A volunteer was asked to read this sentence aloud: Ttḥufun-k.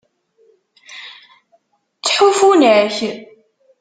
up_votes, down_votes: 0, 2